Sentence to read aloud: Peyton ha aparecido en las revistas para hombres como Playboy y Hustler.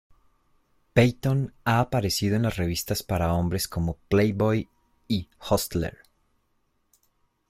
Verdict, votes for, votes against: accepted, 2, 0